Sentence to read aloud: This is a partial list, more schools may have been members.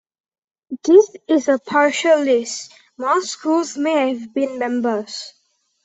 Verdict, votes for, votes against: accepted, 3, 0